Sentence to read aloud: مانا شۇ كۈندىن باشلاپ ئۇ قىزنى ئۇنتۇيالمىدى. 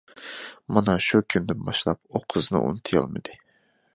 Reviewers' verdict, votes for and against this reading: accepted, 2, 0